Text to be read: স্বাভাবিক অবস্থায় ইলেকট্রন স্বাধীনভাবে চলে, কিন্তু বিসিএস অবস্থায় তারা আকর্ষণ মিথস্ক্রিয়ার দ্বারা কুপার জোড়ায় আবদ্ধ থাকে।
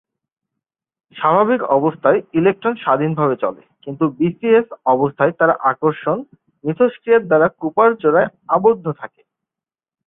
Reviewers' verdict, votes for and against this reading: accepted, 2, 0